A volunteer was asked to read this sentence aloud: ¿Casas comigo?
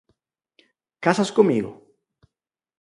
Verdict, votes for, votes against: accepted, 4, 0